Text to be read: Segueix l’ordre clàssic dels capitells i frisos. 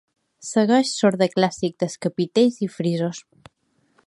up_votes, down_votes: 0, 2